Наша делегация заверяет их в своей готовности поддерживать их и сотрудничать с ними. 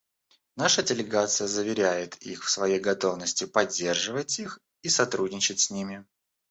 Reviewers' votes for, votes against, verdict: 1, 2, rejected